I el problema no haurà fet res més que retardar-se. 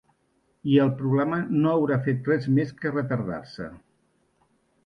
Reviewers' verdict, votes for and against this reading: accepted, 2, 0